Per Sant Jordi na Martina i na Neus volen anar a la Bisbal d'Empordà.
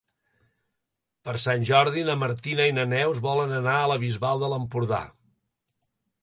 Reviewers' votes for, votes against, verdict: 1, 2, rejected